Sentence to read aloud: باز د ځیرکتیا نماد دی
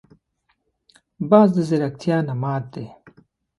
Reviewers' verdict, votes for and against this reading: accepted, 2, 0